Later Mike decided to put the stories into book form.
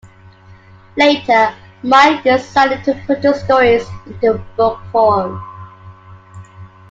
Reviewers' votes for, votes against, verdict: 2, 1, accepted